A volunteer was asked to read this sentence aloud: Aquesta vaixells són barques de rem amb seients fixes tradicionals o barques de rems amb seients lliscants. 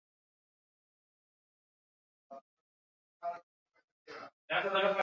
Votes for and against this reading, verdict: 0, 2, rejected